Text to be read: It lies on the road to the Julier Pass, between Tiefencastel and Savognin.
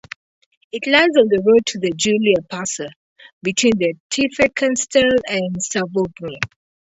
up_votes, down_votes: 0, 2